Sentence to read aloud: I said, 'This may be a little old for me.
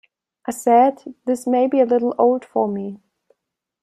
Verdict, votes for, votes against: accepted, 2, 0